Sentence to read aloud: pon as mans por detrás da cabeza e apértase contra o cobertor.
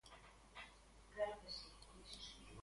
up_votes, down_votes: 0, 2